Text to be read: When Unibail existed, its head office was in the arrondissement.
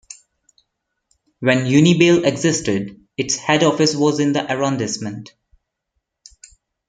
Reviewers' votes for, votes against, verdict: 2, 0, accepted